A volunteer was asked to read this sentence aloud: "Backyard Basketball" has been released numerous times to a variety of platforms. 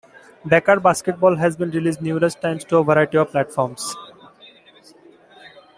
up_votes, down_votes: 0, 2